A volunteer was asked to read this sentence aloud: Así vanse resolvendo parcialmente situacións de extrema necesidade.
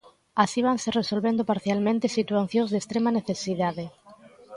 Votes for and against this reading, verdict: 2, 0, accepted